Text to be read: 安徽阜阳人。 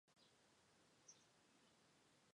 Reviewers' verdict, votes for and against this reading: rejected, 0, 2